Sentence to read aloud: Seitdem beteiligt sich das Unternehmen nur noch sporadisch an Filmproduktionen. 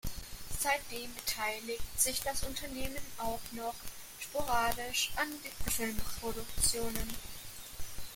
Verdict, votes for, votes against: rejected, 0, 2